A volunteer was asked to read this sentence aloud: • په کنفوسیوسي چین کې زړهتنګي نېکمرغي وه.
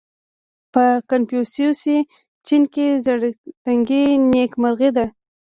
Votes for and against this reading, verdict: 0, 2, rejected